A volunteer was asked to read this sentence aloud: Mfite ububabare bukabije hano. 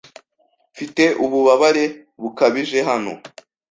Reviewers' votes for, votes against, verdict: 2, 0, accepted